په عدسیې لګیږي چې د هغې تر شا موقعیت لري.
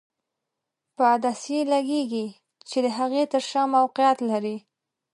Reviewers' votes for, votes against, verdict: 2, 0, accepted